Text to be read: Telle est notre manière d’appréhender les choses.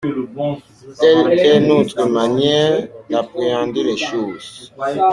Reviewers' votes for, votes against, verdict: 0, 2, rejected